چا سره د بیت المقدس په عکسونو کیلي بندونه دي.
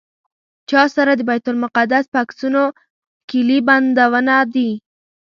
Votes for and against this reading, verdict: 0, 2, rejected